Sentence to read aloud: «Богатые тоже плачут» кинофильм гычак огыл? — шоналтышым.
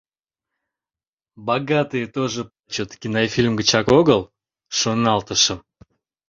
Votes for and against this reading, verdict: 0, 2, rejected